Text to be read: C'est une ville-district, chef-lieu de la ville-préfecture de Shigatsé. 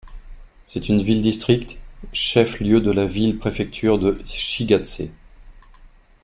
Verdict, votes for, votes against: accepted, 2, 0